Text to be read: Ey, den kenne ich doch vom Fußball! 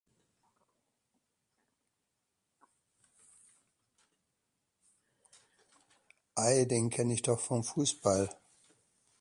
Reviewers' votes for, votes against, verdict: 0, 2, rejected